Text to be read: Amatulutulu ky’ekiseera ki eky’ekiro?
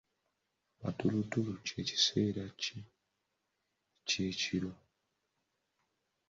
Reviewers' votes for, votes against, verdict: 1, 2, rejected